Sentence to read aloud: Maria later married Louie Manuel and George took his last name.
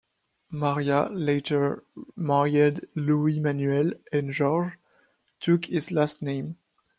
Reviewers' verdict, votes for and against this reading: rejected, 1, 2